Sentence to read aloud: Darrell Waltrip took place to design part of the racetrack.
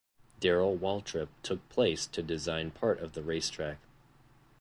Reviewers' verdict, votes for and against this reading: accepted, 2, 0